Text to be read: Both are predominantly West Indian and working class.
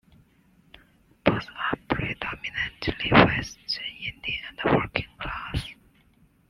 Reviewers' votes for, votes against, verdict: 0, 2, rejected